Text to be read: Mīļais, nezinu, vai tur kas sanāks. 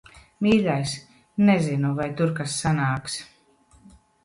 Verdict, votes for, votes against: accepted, 2, 0